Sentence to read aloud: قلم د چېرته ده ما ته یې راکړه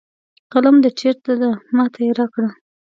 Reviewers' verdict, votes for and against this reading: accepted, 2, 0